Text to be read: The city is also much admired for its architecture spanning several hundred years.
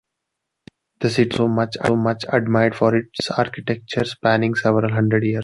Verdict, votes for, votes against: rejected, 0, 2